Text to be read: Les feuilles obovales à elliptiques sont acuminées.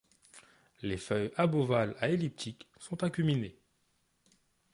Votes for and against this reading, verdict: 1, 2, rejected